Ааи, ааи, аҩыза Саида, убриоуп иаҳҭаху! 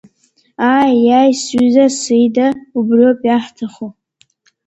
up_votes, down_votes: 0, 2